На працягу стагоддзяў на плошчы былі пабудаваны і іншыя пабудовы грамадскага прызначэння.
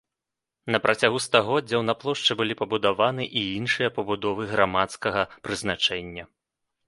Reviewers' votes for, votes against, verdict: 2, 0, accepted